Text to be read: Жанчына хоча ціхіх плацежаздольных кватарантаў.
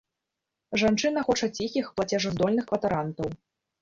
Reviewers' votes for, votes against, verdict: 2, 0, accepted